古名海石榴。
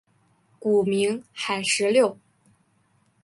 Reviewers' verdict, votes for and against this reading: accepted, 3, 2